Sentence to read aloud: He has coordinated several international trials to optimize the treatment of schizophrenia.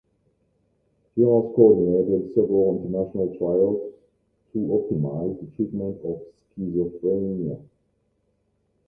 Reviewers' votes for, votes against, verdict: 1, 2, rejected